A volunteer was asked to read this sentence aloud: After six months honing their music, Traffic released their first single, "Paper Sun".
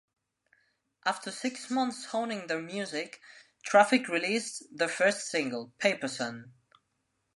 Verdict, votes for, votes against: accepted, 2, 0